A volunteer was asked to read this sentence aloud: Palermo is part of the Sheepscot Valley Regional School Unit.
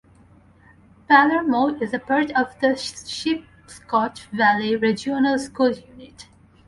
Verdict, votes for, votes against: rejected, 0, 2